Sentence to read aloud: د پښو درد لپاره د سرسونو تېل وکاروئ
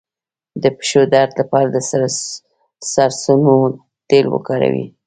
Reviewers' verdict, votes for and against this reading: accepted, 2, 0